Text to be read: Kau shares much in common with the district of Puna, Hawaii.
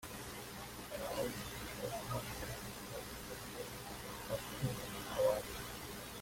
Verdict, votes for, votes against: rejected, 0, 2